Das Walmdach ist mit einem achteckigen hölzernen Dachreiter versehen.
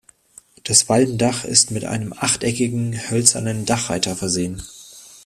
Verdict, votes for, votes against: accepted, 2, 0